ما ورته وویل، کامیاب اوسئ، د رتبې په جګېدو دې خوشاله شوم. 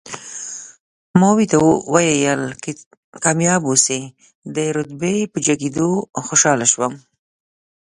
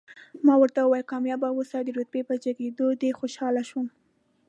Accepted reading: second